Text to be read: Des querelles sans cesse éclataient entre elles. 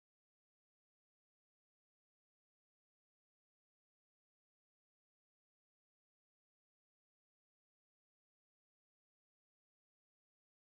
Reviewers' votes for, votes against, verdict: 0, 2, rejected